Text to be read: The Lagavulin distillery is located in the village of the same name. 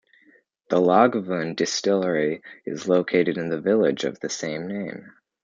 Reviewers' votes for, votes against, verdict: 1, 2, rejected